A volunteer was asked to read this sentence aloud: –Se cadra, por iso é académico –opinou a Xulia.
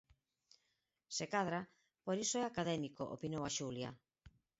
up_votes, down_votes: 4, 0